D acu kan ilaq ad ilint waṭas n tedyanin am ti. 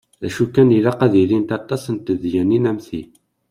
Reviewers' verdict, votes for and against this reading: accepted, 2, 0